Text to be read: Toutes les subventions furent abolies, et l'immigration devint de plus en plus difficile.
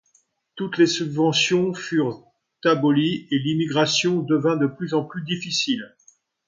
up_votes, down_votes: 2, 0